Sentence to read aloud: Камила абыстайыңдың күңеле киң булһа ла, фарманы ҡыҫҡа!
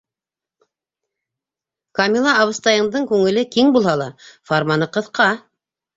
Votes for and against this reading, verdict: 1, 2, rejected